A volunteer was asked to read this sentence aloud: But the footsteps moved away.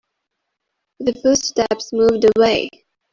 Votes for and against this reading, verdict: 0, 2, rejected